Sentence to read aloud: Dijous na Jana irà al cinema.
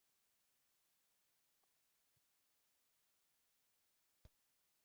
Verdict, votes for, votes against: rejected, 1, 2